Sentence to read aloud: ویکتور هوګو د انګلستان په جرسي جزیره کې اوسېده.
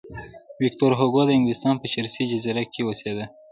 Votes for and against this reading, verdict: 1, 2, rejected